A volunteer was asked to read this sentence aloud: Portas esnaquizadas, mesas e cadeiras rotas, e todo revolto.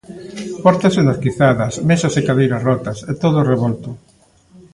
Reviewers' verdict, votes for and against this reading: accepted, 2, 0